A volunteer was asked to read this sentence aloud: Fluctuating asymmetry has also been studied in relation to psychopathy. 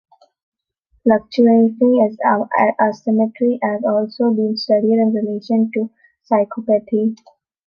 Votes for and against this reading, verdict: 0, 2, rejected